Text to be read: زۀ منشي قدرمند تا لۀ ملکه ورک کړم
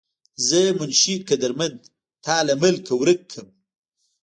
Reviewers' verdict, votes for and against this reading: rejected, 1, 2